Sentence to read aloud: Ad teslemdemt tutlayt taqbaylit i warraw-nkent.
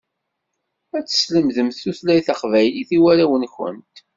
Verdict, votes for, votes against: accepted, 2, 0